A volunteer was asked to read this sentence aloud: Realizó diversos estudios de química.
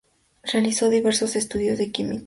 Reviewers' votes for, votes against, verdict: 2, 0, accepted